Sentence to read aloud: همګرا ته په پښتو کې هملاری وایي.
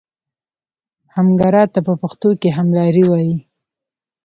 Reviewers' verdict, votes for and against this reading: accepted, 2, 0